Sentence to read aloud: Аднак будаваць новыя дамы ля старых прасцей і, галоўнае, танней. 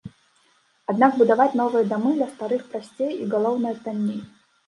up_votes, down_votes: 0, 3